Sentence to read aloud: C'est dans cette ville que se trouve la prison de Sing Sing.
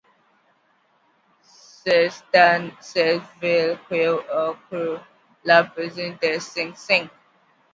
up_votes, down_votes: 0, 2